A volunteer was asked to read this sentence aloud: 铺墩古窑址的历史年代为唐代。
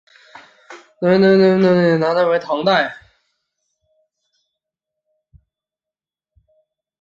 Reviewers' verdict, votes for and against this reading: rejected, 1, 8